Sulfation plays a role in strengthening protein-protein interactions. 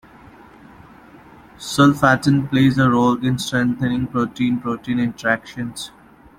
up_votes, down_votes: 1, 2